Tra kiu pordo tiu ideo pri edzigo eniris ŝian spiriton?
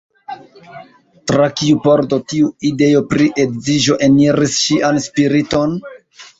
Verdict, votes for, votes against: rejected, 1, 2